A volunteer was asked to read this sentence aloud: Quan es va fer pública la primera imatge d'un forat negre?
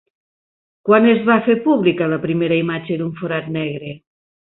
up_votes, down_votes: 2, 0